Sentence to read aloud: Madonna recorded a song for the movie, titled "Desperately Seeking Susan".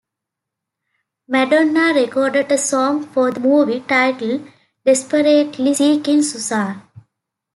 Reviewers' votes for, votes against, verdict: 0, 2, rejected